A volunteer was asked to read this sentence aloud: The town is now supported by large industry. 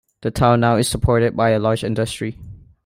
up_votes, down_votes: 1, 2